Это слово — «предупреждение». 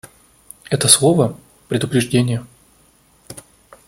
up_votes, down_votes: 2, 0